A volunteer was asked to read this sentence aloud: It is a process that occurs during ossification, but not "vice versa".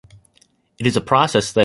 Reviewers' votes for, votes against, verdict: 0, 2, rejected